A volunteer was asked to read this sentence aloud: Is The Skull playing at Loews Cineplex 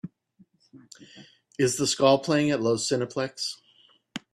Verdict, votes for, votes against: accepted, 2, 0